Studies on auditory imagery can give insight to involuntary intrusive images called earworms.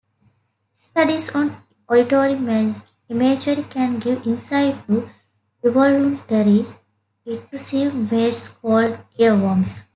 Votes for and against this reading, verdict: 1, 2, rejected